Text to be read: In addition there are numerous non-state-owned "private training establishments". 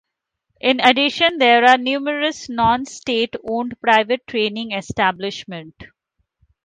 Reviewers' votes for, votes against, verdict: 2, 3, rejected